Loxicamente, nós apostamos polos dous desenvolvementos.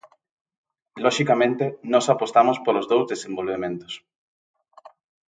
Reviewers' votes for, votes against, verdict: 2, 0, accepted